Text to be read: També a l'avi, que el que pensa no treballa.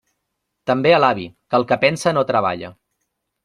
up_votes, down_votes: 2, 0